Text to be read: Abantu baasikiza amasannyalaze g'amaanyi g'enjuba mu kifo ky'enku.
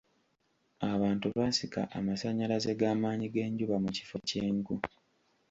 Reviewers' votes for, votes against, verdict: 0, 2, rejected